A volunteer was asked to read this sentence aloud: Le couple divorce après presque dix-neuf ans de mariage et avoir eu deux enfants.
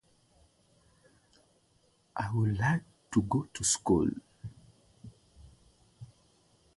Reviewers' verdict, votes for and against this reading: rejected, 0, 2